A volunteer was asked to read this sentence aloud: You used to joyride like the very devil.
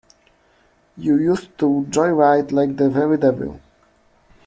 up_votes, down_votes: 2, 0